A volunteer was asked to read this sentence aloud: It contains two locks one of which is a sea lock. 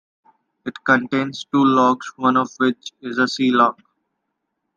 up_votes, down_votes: 2, 0